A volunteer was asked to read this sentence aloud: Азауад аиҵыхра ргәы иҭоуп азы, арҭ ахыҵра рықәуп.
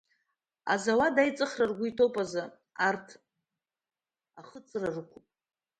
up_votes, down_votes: 1, 2